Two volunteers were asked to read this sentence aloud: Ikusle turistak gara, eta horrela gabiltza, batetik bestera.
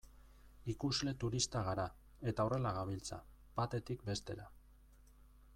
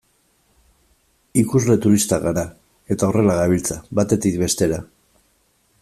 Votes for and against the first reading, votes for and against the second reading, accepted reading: 1, 2, 2, 1, second